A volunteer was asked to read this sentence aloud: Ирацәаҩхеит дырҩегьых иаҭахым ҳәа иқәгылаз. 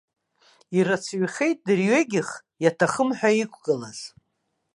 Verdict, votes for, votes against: accepted, 2, 0